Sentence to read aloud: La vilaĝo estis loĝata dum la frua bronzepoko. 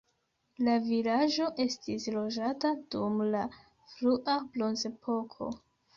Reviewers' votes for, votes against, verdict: 1, 2, rejected